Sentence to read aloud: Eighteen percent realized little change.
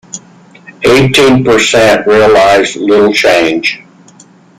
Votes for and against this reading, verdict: 1, 2, rejected